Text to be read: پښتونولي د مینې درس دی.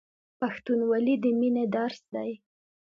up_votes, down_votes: 2, 0